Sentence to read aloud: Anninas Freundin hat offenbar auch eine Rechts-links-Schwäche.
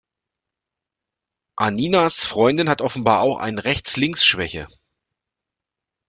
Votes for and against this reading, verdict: 0, 2, rejected